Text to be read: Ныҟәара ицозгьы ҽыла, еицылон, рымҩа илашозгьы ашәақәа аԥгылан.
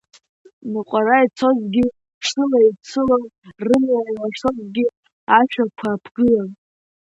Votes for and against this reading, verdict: 2, 0, accepted